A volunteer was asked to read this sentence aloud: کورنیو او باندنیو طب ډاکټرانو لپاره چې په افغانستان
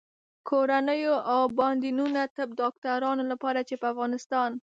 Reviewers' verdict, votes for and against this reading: rejected, 0, 2